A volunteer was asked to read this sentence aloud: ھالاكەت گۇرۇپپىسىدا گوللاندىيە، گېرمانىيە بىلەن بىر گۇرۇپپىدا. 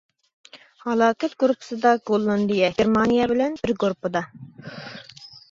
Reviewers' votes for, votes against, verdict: 2, 0, accepted